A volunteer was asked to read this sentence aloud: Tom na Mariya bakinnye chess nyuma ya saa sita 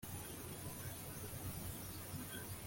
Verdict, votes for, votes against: rejected, 0, 2